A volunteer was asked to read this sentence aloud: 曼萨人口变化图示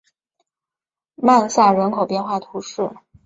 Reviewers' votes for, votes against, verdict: 2, 0, accepted